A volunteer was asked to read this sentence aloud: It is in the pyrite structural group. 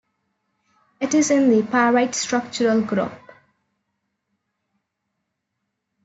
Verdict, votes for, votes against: accepted, 2, 0